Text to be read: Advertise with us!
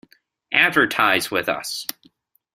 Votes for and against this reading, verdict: 2, 0, accepted